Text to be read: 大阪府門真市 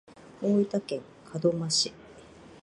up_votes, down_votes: 0, 2